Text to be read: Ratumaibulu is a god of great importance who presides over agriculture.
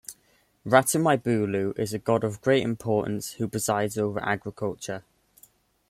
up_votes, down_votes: 2, 1